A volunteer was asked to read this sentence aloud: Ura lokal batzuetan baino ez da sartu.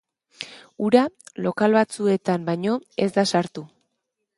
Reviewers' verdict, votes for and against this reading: accepted, 2, 0